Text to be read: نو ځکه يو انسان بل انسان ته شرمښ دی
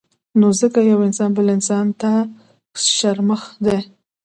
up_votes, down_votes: 0, 2